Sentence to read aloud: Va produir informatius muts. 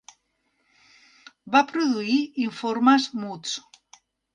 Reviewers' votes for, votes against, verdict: 0, 2, rejected